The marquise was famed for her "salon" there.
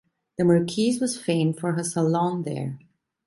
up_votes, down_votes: 2, 0